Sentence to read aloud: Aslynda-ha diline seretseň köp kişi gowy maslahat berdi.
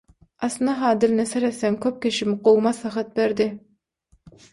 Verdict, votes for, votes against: rejected, 3, 3